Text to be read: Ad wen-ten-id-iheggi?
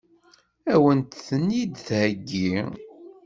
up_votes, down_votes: 1, 2